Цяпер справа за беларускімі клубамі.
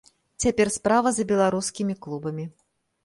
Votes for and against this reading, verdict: 2, 0, accepted